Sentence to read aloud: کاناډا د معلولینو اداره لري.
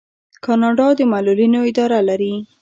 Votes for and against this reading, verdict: 2, 0, accepted